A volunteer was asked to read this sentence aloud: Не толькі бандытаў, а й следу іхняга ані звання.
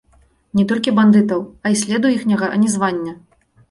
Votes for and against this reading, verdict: 2, 0, accepted